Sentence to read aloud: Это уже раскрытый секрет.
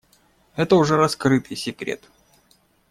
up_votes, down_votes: 2, 0